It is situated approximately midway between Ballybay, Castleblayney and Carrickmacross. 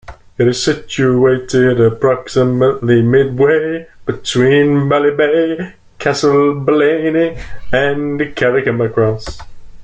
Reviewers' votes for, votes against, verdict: 0, 2, rejected